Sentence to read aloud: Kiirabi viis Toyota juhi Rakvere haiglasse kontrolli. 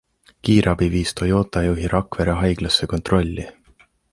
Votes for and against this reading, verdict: 2, 1, accepted